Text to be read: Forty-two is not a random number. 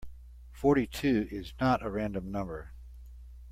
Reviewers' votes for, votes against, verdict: 2, 0, accepted